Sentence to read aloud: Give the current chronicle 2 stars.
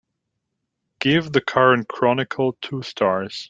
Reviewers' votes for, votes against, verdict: 0, 2, rejected